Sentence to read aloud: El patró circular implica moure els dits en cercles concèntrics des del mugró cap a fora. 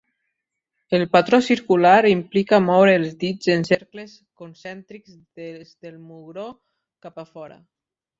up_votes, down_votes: 0, 2